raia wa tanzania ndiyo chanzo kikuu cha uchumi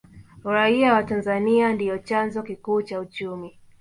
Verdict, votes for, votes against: rejected, 0, 2